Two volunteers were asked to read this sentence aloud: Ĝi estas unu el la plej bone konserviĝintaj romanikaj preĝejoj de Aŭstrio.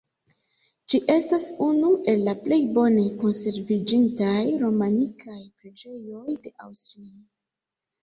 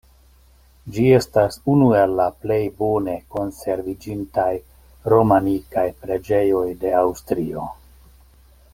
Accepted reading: second